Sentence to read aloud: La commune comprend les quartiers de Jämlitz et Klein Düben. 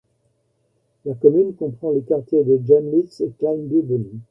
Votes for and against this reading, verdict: 1, 2, rejected